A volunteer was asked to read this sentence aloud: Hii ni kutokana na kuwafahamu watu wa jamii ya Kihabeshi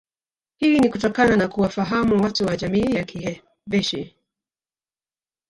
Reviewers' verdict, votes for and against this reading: rejected, 0, 2